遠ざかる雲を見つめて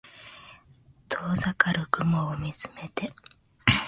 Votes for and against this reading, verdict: 2, 0, accepted